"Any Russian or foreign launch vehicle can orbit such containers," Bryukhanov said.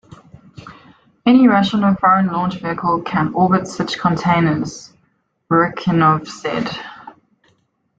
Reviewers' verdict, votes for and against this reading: accepted, 2, 0